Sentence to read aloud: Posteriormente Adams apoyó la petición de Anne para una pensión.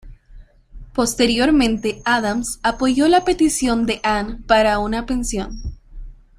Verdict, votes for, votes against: accepted, 2, 0